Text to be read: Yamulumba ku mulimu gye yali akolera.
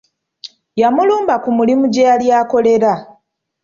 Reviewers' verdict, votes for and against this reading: accepted, 2, 0